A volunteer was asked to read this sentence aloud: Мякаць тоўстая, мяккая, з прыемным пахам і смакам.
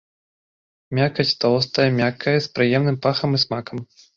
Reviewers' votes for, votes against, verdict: 2, 0, accepted